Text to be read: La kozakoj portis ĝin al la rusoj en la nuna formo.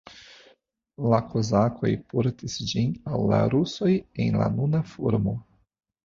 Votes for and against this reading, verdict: 2, 0, accepted